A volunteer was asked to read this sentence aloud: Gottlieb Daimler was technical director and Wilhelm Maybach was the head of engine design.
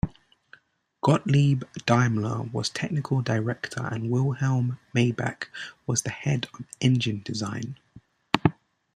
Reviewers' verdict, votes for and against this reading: accepted, 2, 0